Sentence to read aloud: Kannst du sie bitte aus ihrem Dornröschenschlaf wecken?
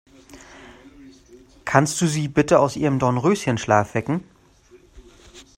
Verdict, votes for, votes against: accepted, 2, 0